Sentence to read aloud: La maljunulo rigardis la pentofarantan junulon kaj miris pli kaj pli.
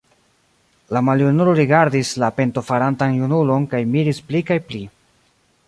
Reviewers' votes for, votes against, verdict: 1, 2, rejected